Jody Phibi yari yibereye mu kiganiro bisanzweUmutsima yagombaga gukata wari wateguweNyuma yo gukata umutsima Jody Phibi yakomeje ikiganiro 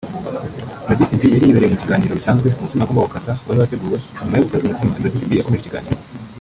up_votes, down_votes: 1, 2